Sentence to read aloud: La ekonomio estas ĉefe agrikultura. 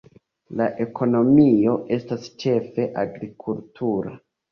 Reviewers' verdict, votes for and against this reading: accepted, 2, 0